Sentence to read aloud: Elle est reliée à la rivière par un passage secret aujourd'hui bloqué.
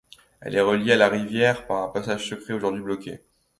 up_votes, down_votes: 2, 0